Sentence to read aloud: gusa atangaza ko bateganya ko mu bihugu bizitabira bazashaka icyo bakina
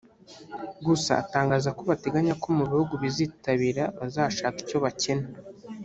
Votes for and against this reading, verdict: 0, 2, rejected